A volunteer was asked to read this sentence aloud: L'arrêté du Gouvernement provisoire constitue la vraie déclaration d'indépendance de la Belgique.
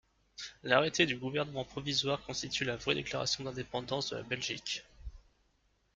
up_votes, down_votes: 2, 0